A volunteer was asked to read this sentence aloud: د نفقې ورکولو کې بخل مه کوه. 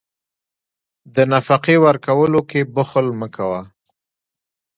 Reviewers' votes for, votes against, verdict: 2, 0, accepted